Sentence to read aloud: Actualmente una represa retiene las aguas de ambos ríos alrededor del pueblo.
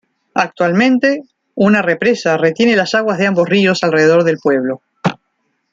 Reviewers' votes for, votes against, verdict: 0, 2, rejected